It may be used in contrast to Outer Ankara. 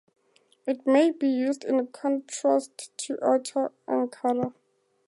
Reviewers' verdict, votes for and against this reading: accepted, 2, 0